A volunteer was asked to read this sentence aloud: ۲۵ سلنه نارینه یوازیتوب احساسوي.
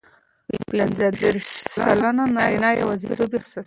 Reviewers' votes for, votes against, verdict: 0, 2, rejected